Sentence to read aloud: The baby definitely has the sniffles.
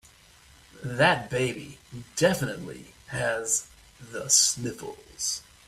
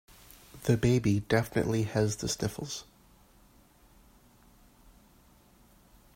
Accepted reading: second